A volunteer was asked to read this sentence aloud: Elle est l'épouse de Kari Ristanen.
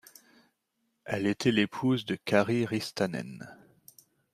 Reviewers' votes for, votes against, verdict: 1, 2, rejected